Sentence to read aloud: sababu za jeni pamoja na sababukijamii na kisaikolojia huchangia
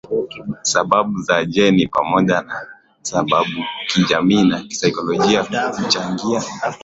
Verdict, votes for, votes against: accepted, 2, 0